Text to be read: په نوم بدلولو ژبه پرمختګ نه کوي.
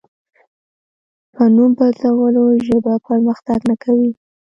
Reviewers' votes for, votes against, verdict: 1, 2, rejected